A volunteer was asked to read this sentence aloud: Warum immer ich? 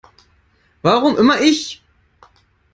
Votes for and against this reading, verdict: 2, 0, accepted